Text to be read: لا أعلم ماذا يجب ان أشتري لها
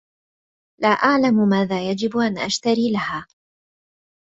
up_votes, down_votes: 2, 0